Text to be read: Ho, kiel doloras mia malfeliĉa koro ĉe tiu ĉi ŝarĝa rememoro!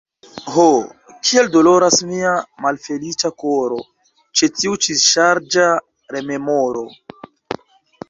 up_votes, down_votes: 1, 2